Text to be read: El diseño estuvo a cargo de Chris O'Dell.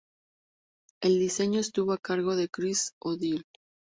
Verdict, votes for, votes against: accepted, 2, 0